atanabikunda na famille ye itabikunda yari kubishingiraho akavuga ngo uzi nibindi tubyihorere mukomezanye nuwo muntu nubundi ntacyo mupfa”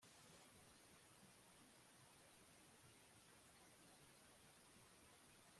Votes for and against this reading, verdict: 0, 2, rejected